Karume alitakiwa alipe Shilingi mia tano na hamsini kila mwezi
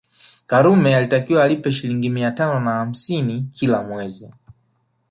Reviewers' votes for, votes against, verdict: 3, 2, accepted